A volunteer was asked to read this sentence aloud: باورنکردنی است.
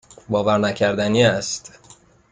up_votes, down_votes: 2, 0